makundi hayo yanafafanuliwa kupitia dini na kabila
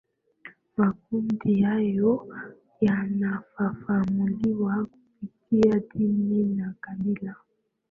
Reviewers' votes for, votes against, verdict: 2, 0, accepted